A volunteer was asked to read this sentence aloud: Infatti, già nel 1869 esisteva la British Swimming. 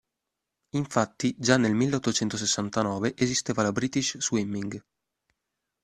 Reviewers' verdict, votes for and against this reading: rejected, 0, 2